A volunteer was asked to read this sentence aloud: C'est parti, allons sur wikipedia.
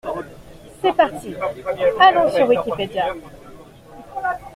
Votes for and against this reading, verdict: 2, 0, accepted